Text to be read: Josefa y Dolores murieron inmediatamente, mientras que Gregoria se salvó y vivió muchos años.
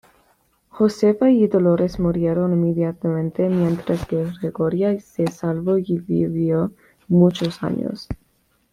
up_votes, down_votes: 2, 0